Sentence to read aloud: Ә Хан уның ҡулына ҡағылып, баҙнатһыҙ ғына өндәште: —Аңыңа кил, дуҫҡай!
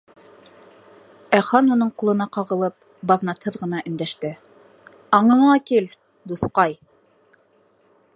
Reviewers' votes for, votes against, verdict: 3, 0, accepted